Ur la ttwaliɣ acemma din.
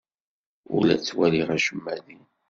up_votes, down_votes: 2, 0